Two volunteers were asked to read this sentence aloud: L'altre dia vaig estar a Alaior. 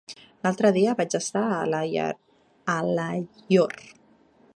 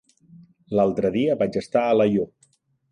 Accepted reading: second